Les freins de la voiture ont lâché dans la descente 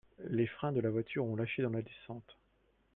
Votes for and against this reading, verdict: 1, 2, rejected